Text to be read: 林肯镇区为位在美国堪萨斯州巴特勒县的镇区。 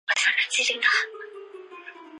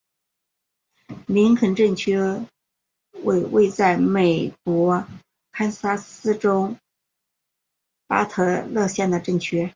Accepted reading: second